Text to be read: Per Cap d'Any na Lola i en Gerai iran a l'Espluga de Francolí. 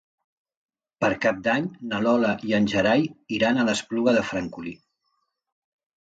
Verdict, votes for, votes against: accepted, 2, 0